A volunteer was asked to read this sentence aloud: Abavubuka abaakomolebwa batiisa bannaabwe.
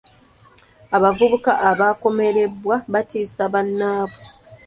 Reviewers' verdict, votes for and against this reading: rejected, 1, 2